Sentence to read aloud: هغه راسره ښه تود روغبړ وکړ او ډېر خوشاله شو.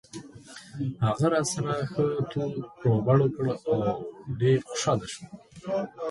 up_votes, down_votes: 1, 2